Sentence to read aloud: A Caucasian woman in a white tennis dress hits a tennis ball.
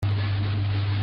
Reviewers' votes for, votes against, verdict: 0, 2, rejected